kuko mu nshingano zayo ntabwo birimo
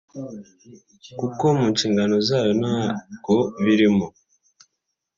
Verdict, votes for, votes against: accepted, 2, 1